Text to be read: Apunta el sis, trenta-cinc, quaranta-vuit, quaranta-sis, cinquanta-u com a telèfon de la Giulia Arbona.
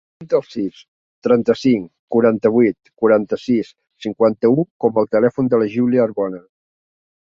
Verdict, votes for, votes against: rejected, 0, 2